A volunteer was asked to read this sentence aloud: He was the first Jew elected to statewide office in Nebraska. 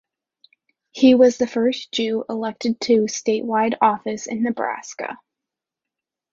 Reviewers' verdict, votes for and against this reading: accepted, 2, 0